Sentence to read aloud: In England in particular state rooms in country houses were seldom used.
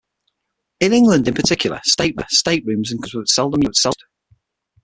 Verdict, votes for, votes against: rejected, 0, 6